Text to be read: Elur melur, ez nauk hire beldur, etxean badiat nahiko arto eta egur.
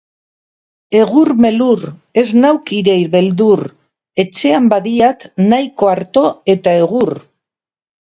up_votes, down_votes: 2, 2